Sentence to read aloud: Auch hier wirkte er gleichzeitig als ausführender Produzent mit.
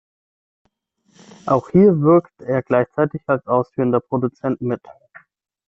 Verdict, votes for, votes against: rejected, 3, 6